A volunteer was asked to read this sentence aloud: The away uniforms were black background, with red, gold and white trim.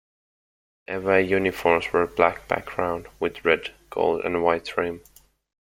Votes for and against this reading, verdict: 2, 1, accepted